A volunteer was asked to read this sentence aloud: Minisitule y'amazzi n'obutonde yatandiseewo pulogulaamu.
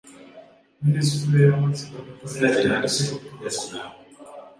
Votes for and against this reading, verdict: 0, 2, rejected